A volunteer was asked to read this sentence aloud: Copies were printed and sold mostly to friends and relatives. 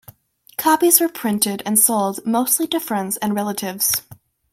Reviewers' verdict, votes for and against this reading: accepted, 2, 0